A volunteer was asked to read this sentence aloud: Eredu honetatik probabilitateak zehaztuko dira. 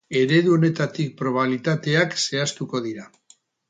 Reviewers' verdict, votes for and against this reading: rejected, 2, 4